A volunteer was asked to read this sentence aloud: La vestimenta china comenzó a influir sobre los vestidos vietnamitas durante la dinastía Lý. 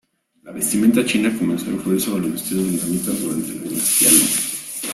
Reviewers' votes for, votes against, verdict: 2, 0, accepted